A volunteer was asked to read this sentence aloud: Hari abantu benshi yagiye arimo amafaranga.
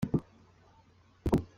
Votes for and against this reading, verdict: 0, 2, rejected